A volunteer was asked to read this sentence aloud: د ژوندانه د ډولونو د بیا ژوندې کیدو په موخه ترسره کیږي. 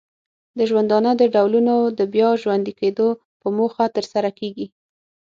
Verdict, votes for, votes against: accepted, 6, 0